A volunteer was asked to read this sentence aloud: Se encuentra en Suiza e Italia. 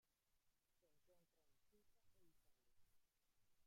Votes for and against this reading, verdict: 0, 2, rejected